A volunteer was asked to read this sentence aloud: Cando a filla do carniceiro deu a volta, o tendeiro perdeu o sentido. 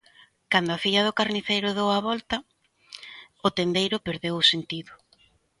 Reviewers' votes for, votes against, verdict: 2, 0, accepted